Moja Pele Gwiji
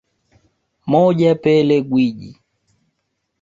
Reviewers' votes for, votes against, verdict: 3, 0, accepted